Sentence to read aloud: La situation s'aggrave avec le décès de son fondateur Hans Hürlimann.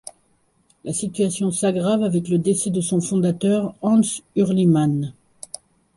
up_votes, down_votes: 2, 0